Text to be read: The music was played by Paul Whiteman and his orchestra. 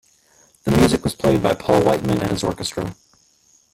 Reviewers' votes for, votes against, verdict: 1, 2, rejected